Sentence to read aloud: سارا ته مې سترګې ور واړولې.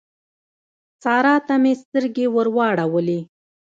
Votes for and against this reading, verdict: 2, 0, accepted